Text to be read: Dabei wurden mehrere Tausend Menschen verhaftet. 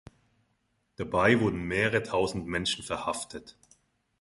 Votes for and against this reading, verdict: 3, 0, accepted